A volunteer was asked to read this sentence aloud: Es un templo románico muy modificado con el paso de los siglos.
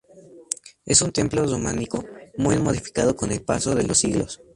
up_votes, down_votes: 2, 2